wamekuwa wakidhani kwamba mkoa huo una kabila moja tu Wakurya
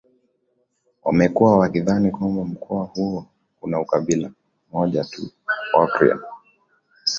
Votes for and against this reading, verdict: 2, 1, accepted